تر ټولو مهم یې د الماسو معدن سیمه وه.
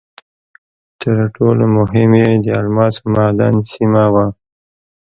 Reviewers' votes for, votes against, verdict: 2, 0, accepted